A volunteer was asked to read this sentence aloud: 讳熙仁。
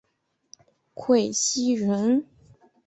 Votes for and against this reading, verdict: 2, 1, accepted